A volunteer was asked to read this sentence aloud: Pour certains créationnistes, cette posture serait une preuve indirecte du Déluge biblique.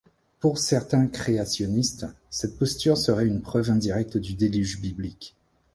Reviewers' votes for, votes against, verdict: 2, 0, accepted